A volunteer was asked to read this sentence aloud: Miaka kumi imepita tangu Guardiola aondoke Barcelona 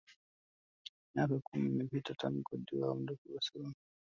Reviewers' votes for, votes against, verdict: 1, 2, rejected